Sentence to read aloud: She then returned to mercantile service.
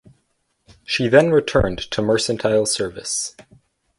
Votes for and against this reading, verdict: 4, 2, accepted